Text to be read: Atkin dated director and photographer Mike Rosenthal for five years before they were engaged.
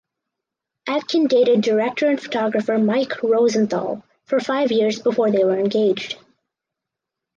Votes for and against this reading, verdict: 4, 0, accepted